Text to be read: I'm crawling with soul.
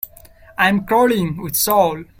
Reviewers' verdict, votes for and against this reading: rejected, 1, 2